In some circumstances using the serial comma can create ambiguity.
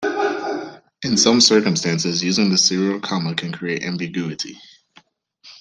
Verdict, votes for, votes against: rejected, 1, 2